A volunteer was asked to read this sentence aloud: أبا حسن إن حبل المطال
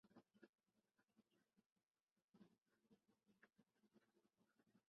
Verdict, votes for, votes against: rejected, 0, 2